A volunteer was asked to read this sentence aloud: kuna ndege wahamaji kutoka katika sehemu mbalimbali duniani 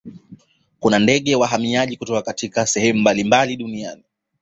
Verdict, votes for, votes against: accepted, 2, 1